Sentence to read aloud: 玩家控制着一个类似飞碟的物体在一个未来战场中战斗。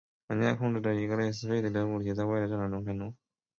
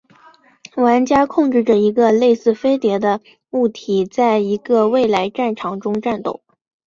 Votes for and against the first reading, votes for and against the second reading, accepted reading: 1, 2, 2, 0, second